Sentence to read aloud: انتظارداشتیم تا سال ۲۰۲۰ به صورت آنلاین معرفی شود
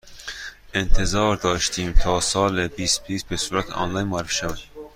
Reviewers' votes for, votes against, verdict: 0, 2, rejected